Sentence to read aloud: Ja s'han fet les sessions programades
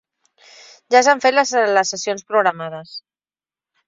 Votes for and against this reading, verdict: 0, 2, rejected